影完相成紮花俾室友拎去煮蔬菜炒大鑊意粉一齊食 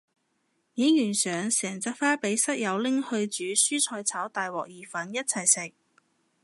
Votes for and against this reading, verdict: 0, 2, rejected